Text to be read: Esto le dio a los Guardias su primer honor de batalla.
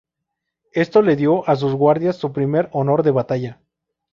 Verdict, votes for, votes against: rejected, 2, 2